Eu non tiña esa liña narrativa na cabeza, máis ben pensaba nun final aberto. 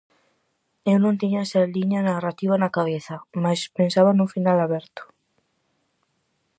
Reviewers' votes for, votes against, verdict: 0, 4, rejected